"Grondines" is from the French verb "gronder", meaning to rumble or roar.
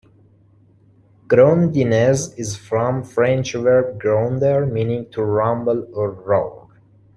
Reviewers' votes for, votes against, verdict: 0, 2, rejected